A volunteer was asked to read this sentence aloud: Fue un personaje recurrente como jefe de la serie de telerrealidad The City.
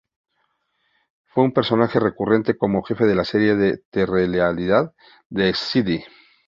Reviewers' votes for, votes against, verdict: 2, 0, accepted